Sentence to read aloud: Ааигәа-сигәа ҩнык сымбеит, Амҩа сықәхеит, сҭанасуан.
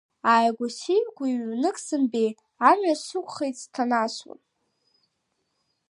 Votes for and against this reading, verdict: 1, 2, rejected